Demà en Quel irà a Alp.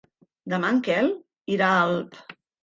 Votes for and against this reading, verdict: 1, 2, rejected